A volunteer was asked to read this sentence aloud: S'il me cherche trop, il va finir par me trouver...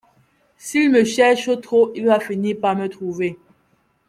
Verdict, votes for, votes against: accepted, 2, 0